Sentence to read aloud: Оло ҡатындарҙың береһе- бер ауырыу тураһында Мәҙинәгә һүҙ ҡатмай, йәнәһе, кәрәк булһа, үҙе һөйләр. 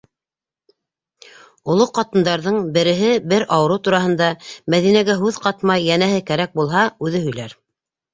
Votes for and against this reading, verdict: 2, 0, accepted